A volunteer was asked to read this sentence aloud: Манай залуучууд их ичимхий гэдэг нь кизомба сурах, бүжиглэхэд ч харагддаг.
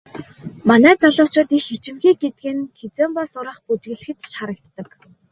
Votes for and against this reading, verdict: 4, 0, accepted